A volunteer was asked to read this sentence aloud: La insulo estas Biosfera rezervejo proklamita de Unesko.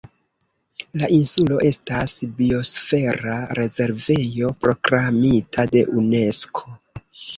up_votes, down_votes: 0, 2